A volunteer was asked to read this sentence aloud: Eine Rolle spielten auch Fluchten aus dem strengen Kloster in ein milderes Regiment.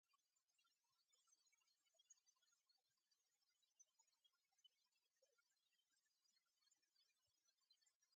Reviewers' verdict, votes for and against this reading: rejected, 0, 2